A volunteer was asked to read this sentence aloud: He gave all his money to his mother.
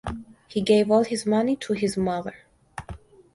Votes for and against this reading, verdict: 4, 0, accepted